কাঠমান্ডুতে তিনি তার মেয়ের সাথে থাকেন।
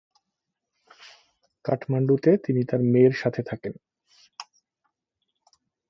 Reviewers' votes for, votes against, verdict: 2, 0, accepted